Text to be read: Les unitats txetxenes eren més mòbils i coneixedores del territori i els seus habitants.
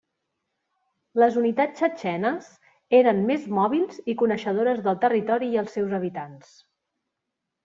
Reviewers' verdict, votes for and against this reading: accepted, 2, 0